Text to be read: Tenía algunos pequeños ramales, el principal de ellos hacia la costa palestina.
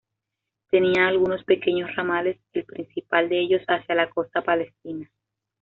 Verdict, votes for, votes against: accepted, 2, 0